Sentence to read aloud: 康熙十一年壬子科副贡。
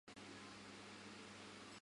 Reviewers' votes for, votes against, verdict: 0, 2, rejected